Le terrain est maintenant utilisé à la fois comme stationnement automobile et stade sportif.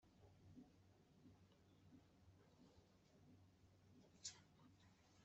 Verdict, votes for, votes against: rejected, 0, 2